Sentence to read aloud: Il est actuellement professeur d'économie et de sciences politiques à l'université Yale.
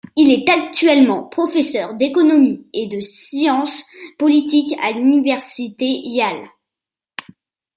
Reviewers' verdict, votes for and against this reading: accepted, 2, 0